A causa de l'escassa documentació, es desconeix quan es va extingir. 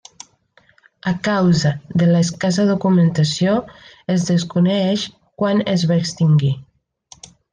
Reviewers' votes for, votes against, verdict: 1, 2, rejected